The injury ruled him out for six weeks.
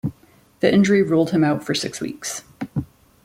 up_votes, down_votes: 2, 0